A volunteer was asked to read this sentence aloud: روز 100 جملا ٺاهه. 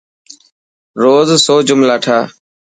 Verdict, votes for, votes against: rejected, 0, 2